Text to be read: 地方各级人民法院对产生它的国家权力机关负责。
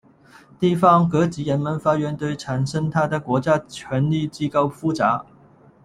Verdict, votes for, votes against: rejected, 1, 2